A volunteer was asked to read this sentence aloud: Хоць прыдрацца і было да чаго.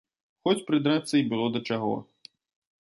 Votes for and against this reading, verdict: 2, 0, accepted